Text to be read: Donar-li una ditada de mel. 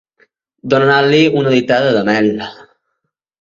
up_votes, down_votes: 1, 2